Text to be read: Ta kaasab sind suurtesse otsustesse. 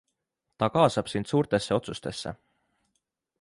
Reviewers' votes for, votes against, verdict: 2, 0, accepted